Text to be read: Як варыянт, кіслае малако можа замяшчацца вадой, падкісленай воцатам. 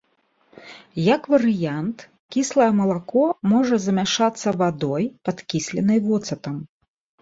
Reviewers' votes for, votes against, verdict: 0, 2, rejected